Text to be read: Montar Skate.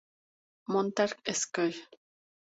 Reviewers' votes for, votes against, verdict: 2, 0, accepted